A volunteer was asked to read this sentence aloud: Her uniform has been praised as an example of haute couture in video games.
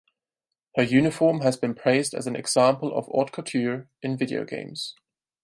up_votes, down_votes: 6, 0